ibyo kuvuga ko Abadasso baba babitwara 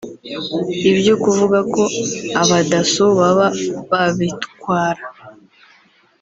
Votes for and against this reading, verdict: 2, 1, accepted